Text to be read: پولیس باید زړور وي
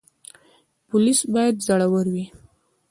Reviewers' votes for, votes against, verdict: 1, 2, rejected